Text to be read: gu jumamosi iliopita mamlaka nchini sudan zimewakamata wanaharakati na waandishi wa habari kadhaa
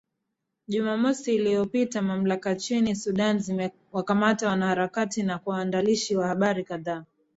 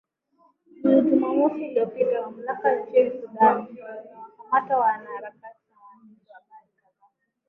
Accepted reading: first